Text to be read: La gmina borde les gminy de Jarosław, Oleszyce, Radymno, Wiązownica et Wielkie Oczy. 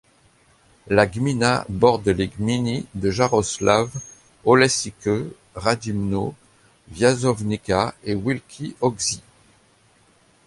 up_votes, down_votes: 2, 0